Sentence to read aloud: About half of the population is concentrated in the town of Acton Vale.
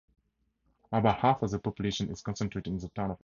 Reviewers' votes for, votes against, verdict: 0, 4, rejected